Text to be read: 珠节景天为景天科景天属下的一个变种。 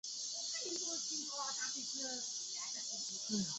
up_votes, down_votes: 0, 3